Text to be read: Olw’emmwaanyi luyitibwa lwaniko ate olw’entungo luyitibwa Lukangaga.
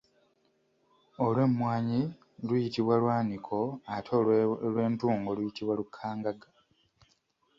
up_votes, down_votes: 1, 2